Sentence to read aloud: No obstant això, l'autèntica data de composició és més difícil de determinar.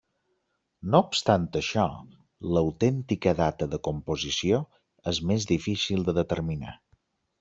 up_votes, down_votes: 3, 0